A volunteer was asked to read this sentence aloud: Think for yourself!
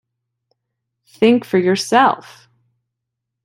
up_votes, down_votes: 2, 0